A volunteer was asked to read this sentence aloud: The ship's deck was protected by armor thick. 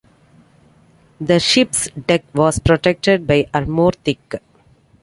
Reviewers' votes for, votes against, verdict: 2, 1, accepted